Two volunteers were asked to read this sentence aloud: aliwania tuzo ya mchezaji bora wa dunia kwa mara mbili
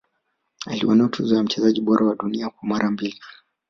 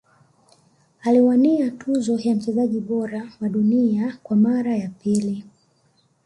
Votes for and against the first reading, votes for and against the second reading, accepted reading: 2, 1, 1, 2, first